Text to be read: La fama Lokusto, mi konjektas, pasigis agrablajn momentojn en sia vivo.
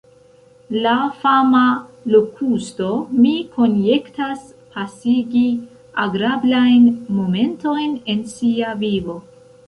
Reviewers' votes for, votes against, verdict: 2, 0, accepted